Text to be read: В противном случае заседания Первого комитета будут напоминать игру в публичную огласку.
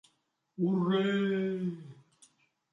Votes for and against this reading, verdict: 0, 2, rejected